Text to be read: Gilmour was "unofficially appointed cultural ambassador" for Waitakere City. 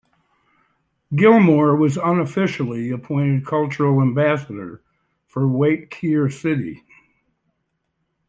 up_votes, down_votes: 1, 2